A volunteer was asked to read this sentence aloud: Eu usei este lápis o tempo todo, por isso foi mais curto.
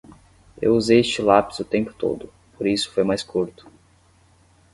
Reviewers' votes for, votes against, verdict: 10, 0, accepted